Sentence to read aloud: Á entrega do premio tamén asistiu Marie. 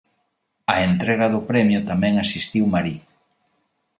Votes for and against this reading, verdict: 2, 0, accepted